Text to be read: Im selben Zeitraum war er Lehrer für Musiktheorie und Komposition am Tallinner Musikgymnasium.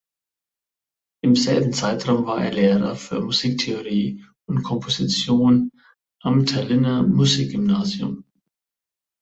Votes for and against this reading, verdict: 2, 0, accepted